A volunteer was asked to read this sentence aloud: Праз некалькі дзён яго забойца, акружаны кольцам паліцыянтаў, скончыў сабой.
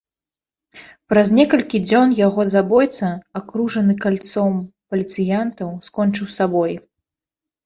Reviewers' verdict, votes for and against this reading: rejected, 0, 2